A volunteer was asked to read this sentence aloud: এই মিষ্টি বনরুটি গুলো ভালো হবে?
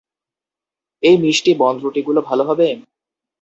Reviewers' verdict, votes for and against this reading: accepted, 2, 0